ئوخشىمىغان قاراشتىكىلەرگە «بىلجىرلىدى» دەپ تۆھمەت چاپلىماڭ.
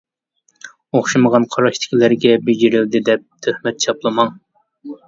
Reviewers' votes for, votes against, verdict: 0, 2, rejected